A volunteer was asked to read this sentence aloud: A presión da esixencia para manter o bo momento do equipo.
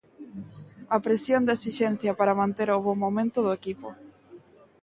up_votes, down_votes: 2, 0